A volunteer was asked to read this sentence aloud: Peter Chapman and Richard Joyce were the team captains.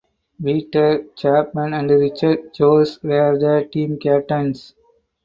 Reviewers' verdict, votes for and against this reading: accepted, 2, 0